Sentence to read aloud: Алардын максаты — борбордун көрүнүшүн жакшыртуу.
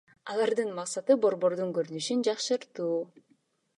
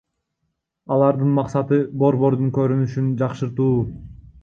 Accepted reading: first